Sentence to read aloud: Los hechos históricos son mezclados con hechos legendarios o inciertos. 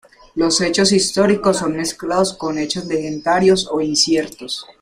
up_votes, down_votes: 2, 1